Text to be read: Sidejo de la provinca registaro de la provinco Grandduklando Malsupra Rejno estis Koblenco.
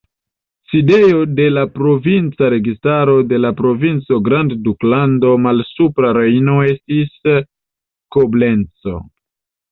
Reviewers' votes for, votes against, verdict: 1, 2, rejected